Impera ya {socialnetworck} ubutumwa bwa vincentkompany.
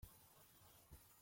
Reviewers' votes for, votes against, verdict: 0, 2, rejected